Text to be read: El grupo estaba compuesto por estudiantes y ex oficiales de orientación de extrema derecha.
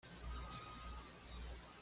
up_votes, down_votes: 1, 2